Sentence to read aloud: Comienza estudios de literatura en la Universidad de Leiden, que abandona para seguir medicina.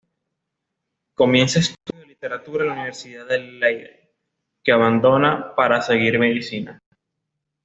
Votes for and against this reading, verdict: 0, 2, rejected